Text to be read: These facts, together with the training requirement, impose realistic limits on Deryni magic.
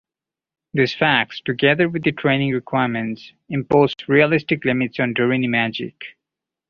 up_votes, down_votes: 2, 0